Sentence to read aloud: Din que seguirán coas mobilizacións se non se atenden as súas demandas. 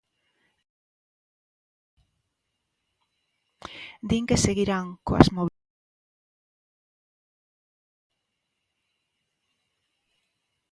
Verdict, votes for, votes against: rejected, 0, 2